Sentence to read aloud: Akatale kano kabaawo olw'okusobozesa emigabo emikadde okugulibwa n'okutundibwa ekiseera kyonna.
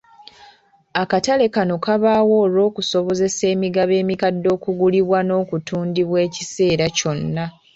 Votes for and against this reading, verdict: 2, 0, accepted